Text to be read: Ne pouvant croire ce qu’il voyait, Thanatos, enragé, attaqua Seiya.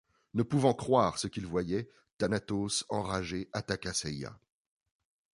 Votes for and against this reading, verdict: 2, 0, accepted